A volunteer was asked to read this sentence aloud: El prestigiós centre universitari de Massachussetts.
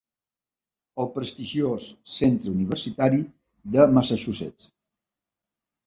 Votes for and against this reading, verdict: 3, 0, accepted